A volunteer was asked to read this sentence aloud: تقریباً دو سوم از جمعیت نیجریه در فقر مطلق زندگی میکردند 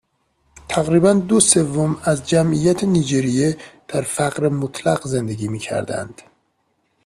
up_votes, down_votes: 2, 0